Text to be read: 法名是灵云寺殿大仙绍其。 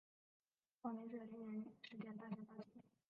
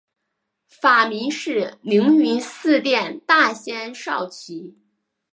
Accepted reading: second